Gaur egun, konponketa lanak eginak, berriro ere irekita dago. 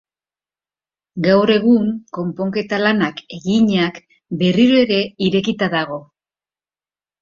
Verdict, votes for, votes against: accepted, 2, 0